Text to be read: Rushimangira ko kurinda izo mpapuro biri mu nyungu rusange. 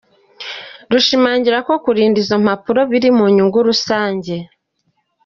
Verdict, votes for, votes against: accepted, 2, 0